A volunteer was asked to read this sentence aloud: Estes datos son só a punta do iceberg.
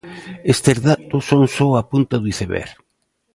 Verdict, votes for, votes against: accepted, 2, 0